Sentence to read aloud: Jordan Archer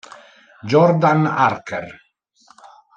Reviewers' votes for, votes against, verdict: 2, 0, accepted